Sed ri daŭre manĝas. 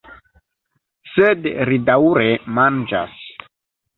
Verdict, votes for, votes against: accepted, 2, 0